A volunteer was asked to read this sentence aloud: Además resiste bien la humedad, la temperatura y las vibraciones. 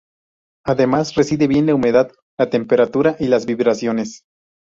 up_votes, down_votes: 2, 0